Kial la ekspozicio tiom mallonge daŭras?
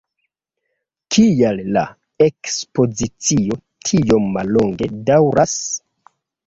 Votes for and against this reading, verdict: 3, 0, accepted